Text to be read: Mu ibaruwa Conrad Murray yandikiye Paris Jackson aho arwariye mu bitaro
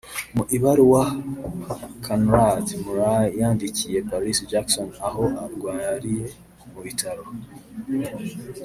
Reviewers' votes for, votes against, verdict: 1, 2, rejected